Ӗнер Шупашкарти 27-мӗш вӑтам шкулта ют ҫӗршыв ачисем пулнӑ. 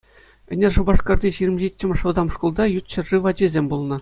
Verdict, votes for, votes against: rejected, 0, 2